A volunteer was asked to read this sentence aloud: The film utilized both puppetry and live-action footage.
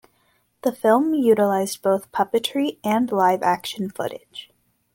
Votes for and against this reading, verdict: 2, 0, accepted